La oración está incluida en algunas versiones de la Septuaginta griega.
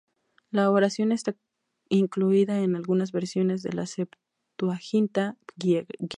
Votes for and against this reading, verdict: 0, 4, rejected